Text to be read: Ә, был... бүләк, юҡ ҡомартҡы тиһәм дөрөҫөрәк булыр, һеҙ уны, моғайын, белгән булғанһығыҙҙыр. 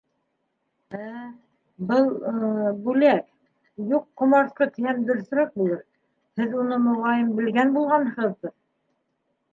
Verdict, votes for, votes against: accepted, 2, 1